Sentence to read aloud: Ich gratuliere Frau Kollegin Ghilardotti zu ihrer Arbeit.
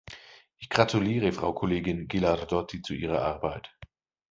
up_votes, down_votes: 2, 0